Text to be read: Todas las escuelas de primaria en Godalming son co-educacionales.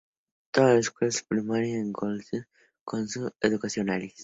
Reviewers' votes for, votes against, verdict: 0, 2, rejected